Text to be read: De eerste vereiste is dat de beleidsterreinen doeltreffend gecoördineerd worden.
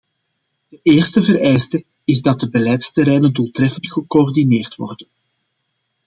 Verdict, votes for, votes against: accepted, 2, 1